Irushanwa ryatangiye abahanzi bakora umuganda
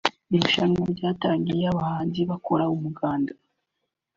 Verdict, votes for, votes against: accepted, 2, 0